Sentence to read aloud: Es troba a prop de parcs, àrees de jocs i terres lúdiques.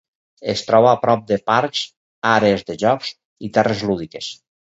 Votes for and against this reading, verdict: 4, 0, accepted